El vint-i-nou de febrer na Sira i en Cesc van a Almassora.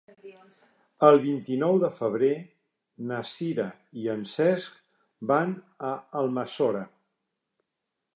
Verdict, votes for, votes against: accepted, 4, 0